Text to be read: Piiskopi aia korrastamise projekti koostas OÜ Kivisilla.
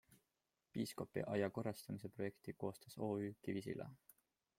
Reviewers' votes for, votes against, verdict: 2, 0, accepted